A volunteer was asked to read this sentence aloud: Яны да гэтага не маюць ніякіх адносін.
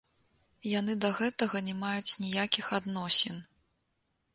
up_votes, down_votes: 2, 0